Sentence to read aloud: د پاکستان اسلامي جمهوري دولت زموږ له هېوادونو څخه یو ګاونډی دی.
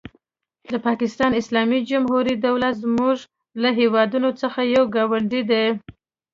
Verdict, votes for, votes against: accepted, 2, 0